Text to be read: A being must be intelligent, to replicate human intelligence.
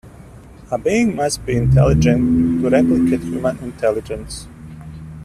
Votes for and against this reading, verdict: 1, 2, rejected